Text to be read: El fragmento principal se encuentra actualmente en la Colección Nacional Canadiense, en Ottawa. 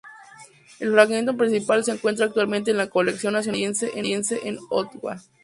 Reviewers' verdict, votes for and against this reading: rejected, 0, 2